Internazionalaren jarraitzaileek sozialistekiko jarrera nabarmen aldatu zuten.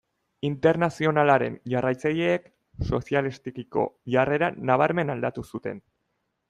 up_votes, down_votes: 2, 0